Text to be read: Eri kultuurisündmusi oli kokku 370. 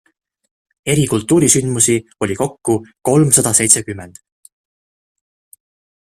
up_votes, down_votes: 0, 2